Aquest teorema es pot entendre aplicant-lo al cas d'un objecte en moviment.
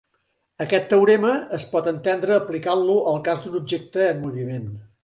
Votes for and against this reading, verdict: 3, 0, accepted